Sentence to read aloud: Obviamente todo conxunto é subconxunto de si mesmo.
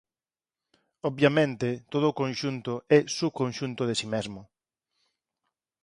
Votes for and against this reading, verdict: 4, 2, accepted